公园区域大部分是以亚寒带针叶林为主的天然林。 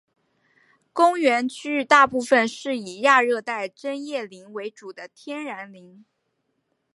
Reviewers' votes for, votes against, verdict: 2, 0, accepted